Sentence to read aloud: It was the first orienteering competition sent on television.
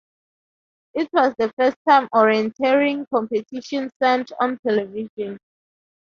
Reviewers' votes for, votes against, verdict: 0, 2, rejected